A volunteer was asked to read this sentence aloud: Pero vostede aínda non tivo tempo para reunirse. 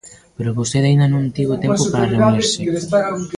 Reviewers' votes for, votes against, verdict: 0, 2, rejected